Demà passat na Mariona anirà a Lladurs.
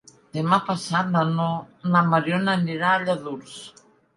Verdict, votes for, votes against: rejected, 0, 2